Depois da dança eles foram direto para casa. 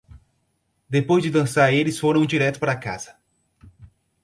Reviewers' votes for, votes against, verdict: 2, 2, rejected